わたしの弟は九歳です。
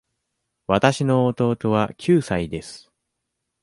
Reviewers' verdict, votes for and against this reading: accepted, 2, 0